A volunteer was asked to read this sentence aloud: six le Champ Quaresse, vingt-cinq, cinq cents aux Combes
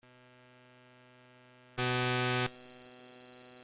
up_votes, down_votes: 0, 2